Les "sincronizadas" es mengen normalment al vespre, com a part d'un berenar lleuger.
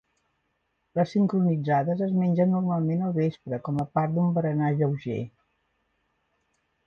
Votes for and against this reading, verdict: 2, 1, accepted